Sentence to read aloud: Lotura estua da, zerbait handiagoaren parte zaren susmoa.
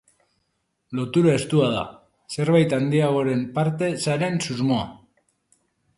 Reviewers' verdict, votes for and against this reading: accepted, 2, 0